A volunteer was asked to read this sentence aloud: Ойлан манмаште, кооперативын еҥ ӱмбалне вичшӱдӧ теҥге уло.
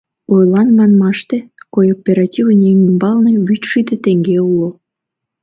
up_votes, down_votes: 1, 2